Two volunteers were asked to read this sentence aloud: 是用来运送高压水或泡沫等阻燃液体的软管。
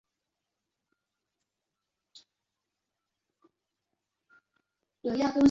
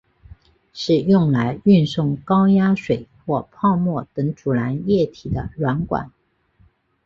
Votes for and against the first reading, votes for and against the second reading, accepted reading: 0, 2, 4, 0, second